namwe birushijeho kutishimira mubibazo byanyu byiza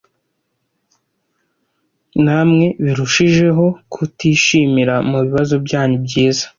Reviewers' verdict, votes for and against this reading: accepted, 2, 0